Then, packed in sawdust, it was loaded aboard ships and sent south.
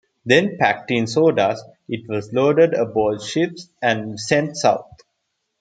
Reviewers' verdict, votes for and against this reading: accepted, 2, 0